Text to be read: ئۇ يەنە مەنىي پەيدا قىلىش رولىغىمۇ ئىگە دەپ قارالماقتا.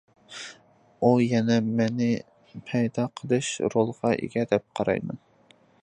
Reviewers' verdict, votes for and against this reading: rejected, 0, 2